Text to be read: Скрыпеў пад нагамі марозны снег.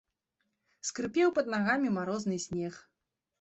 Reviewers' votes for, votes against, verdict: 2, 0, accepted